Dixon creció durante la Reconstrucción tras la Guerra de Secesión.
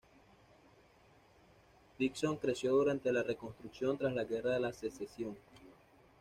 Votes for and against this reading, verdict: 1, 2, rejected